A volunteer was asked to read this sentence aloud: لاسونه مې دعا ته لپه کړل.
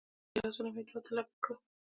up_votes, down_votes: 2, 1